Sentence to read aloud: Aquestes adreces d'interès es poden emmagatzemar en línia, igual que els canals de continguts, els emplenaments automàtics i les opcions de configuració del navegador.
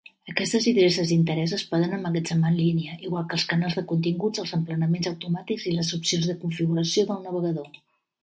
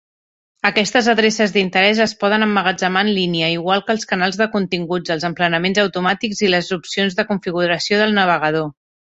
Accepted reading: second